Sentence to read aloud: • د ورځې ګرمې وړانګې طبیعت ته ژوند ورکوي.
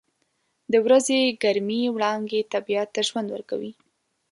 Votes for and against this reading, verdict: 2, 1, accepted